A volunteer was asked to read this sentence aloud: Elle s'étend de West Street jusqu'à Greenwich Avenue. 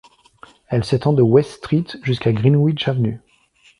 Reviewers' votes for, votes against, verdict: 2, 0, accepted